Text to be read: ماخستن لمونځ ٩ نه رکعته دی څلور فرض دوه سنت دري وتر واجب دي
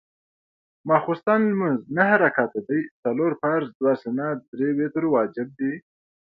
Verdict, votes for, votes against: rejected, 0, 2